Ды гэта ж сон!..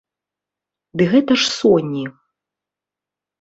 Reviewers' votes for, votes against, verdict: 1, 2, rejected